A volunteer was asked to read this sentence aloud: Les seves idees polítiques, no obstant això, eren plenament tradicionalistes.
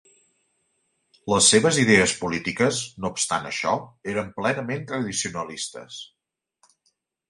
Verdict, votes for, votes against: accepted, 3, 0